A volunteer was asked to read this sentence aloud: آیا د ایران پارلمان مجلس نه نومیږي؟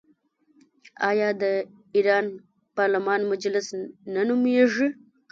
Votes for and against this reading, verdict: 0, 2, rejected